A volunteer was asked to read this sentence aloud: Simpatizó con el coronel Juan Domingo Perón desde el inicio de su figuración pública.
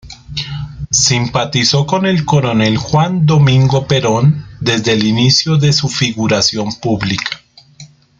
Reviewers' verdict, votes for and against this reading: rejected, 1, 2